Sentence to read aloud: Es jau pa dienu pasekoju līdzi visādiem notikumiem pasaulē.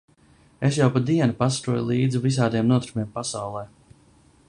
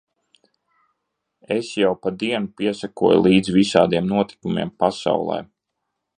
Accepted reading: first